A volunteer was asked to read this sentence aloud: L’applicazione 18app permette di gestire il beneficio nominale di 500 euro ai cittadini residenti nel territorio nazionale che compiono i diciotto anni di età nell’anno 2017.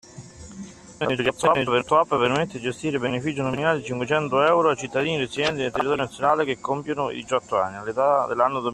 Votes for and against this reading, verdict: 0, 2, rejected